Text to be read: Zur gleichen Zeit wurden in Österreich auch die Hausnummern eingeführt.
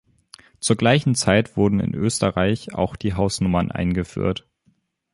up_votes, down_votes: 3, 0